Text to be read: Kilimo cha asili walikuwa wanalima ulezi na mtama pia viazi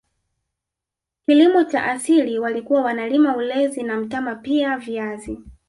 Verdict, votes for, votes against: accepted, 2, 0